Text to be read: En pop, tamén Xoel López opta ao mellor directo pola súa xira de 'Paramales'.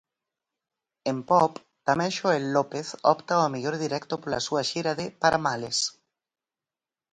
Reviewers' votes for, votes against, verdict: 4, 0, accepted